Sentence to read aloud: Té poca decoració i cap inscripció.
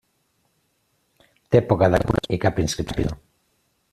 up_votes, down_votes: 1, 2